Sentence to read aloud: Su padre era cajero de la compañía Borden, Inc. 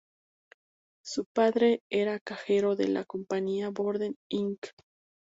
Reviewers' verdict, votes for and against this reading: accepted, 2, 0